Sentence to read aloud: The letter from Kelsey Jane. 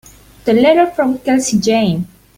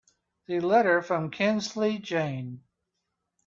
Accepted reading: first